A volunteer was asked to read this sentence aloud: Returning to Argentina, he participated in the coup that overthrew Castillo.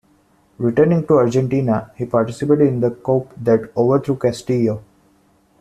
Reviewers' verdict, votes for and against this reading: rejected, 1, 2